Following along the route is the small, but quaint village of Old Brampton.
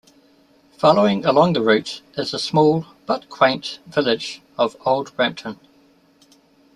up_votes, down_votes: 2, 0